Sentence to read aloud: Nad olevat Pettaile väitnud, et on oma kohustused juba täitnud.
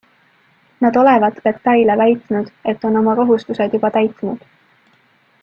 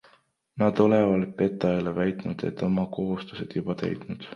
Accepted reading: first